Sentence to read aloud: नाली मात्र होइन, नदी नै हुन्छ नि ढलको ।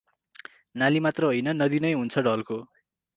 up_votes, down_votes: 2, 4